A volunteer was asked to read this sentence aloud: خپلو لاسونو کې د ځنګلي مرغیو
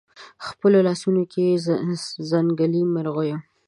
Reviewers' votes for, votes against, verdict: 0, 2, rejected